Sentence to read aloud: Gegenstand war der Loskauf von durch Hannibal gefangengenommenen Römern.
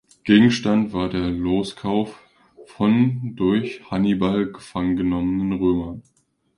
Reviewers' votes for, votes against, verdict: 2, 0, accepted